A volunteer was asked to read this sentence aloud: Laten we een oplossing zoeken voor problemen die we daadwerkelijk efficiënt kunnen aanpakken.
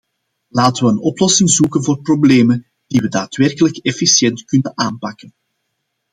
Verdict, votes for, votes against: accepted, 2, 0